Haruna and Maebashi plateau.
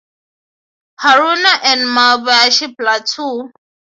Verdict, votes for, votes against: accepted, 6, 3